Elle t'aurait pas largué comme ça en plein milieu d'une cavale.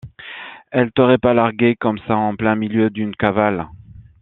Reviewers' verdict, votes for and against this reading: accepted, 2, 0